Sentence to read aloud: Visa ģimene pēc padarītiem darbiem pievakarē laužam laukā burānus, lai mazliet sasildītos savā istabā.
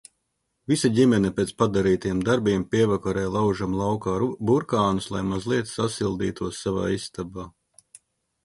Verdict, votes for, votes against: rejected, 0, 2